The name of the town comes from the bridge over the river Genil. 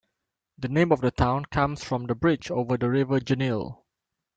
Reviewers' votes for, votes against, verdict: 2, 0, accepted